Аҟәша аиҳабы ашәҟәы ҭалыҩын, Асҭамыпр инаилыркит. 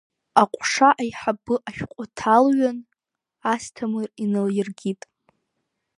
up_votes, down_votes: 2, 1